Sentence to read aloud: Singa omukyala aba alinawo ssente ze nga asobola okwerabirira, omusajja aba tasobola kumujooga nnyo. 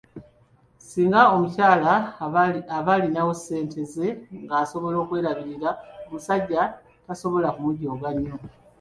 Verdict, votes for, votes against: rejected, 1, 2